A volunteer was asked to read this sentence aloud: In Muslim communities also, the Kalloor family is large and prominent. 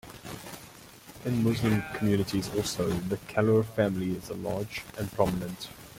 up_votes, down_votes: 2, 1